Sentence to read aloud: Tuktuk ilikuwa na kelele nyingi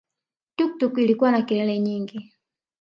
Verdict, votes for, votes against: rejected, 1, 2